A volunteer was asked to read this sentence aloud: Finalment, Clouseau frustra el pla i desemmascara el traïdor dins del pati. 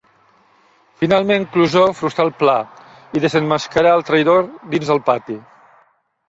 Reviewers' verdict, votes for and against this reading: accepted, 2, 0